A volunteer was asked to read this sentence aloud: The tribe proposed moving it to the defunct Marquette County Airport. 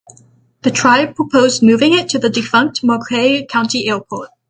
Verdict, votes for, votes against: accepted, 6, 0